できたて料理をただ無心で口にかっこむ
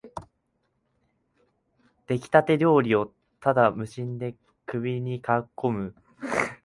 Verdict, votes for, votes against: rejected, 0, 3